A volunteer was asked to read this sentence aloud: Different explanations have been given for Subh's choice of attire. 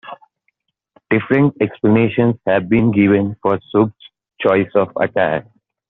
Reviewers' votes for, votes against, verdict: 1, 2, rejected